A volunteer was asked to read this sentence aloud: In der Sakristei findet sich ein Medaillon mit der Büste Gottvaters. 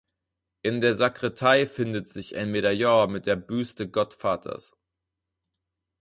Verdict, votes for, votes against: rejected, 0, 4